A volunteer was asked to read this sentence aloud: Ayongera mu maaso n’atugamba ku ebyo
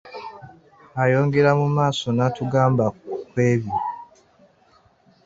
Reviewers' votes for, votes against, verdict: 0, 3, rejected